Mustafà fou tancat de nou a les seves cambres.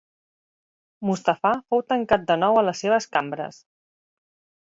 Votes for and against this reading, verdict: 4, 0, accepted